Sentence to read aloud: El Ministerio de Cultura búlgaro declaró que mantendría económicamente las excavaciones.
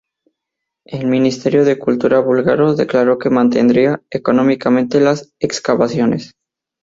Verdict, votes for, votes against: accepted, 2, 0